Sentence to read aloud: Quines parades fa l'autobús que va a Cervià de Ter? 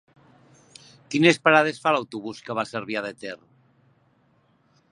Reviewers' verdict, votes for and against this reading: accepted, 4, 0